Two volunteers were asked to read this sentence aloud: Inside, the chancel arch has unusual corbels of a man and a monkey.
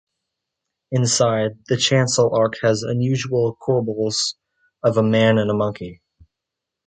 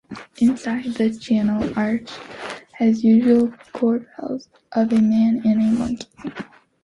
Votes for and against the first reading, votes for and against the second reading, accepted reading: 2, 0, 0, 2, first